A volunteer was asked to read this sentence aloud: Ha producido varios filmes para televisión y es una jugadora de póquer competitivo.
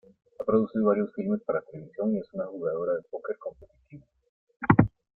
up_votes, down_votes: 2, 0